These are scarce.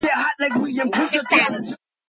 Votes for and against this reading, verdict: 0, 2, rejected